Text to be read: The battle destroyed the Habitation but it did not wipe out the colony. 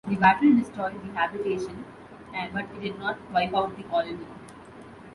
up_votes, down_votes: 2, 1